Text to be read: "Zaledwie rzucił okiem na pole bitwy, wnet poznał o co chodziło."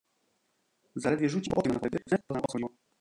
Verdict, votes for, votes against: rejected, 0, 2